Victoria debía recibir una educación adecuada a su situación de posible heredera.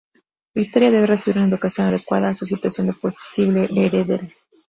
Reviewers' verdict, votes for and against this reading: rejected, 0, 4